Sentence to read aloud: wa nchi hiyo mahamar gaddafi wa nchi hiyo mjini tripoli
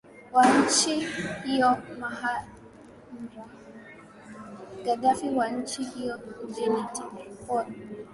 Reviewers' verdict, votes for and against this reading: rejected, 1, 4